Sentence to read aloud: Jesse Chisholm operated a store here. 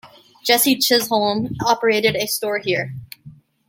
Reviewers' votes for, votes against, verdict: 2, 0, accepted